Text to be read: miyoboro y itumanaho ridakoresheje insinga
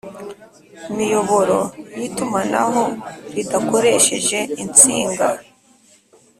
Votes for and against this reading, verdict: 2, 0, accepted